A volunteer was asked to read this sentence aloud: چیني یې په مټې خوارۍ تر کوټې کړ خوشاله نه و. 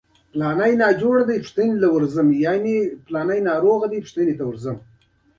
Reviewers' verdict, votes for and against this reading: accepted, 2, 1